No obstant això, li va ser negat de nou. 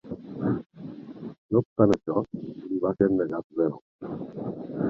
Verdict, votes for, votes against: rejected, 0, 3